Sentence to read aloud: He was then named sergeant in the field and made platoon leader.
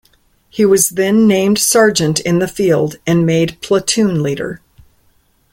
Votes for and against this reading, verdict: 2, 0, accepted